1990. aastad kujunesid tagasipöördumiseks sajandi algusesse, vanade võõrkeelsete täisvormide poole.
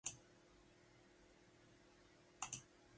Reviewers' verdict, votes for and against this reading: rejected, 0, 2